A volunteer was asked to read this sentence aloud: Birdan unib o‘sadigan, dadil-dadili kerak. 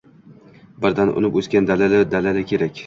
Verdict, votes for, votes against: accepted, 2, 0